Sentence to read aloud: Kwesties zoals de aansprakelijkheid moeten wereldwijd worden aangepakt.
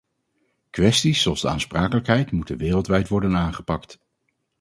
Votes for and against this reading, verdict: 4, 0, accepted